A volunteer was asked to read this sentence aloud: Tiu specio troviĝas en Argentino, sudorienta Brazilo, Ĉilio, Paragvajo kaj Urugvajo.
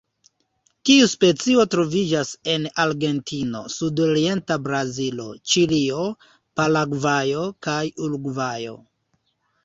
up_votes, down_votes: 2, 0